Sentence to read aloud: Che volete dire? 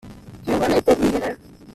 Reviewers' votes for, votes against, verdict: 1, 2, rejected